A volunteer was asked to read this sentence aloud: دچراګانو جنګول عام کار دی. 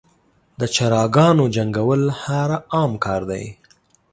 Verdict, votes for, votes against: rejected, 0, 2